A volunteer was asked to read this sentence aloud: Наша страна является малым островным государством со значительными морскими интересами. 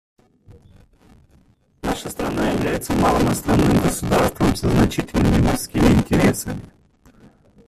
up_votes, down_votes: 1, 2